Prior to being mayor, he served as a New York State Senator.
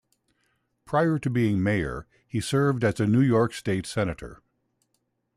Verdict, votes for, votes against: accepted, 2, 0